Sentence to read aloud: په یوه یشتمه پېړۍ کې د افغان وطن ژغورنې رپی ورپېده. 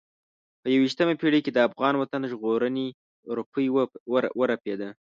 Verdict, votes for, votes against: rejected, 2, 3